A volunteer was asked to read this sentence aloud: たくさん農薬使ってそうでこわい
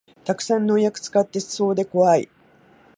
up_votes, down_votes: 3, 0